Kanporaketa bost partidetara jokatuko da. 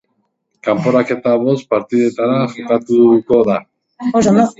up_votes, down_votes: 0, 2